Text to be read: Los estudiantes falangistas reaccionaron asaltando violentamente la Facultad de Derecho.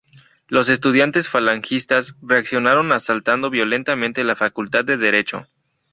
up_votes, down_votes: 2, 0